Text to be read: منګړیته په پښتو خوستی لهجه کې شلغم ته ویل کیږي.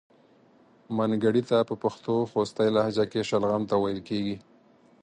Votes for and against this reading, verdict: 4, 0, accepted